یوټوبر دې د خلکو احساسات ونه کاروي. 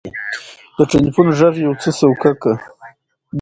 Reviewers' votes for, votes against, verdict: 2, 0, accepted